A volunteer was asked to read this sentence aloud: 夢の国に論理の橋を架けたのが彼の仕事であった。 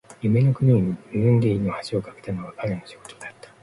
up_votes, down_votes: 1, 2